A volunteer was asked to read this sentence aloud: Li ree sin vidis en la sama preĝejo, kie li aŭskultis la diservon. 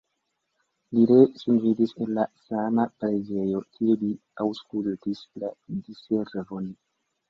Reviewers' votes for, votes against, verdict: 0, 2, rejected